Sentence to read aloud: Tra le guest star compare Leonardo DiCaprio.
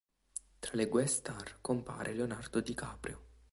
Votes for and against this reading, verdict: 0, 2, rejected